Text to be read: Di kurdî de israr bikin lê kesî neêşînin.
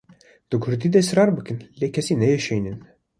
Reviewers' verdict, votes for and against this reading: accepted, 2, 0